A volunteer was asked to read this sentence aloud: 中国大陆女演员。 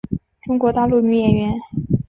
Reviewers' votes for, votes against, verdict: 4, 0, accepted